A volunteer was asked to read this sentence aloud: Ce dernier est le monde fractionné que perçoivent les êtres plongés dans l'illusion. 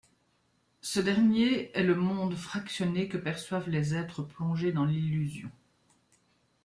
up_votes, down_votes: 2, 0